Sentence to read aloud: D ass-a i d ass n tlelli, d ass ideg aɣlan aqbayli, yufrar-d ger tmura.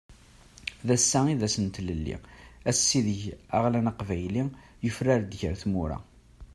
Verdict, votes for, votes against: rejected, 0, 2